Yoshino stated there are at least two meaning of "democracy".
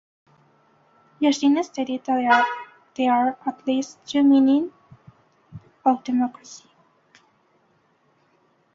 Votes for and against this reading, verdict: 0, 2, rejected